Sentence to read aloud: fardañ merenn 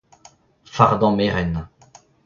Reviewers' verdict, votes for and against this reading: accepted, 2, 1